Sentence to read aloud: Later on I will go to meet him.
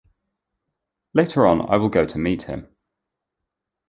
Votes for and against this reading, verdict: 2, 0, accepted